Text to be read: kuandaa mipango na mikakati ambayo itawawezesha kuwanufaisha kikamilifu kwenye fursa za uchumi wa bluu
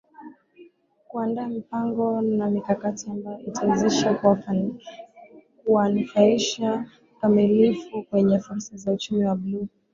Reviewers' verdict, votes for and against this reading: rejected, 1, 4